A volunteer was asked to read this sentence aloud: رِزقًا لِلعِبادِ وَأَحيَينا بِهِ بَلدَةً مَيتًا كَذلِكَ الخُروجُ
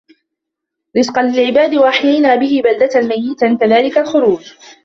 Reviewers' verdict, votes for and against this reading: rejected, 1, 2